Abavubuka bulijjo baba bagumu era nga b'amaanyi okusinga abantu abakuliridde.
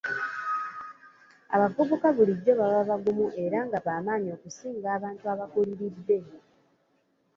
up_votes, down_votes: 1, 2